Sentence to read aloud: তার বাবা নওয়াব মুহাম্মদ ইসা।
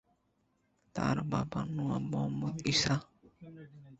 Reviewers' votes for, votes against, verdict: 0, 2, rejected